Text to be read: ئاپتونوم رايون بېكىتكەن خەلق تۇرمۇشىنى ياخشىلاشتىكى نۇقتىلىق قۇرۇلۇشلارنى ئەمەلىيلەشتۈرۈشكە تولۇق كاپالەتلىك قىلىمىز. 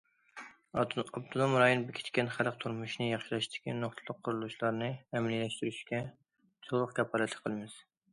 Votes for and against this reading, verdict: 0, 2, rejected